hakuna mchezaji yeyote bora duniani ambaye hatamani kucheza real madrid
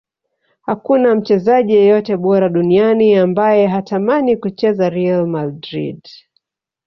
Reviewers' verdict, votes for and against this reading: rejected, 1, 2